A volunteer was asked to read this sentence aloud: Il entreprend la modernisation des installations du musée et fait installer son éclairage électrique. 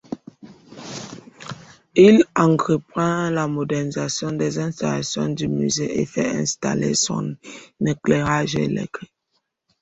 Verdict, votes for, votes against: rejected, 1, 2